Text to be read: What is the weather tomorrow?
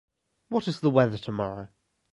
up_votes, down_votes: 2, 0